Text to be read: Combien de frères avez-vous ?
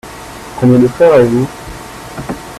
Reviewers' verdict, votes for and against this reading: rejected, 1, 2